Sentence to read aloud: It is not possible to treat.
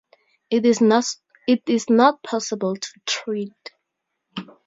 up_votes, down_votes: 0, 4